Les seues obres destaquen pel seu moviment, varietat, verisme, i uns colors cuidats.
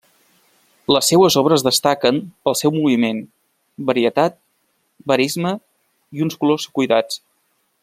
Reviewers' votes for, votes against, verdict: 2, 0, accepted